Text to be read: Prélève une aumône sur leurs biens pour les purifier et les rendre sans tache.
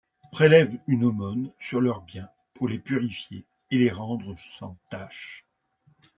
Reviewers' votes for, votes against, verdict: 2, 0, accepted